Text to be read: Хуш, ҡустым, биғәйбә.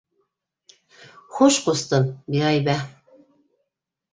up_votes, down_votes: 2, 0